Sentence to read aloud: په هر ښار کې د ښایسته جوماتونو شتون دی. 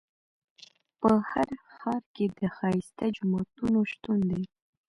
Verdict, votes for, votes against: accepted, 2, 0